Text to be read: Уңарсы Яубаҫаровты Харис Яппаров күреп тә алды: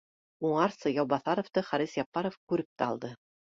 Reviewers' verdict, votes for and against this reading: rejected, 0, 2